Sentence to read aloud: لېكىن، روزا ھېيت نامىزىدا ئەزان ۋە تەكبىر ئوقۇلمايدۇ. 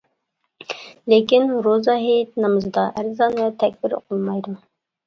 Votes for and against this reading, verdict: 1, 2, rejected